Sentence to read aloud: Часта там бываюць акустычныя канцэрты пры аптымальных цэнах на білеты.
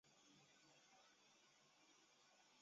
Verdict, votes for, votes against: rejected, 0, 2